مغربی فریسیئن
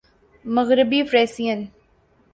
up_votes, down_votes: 2, 0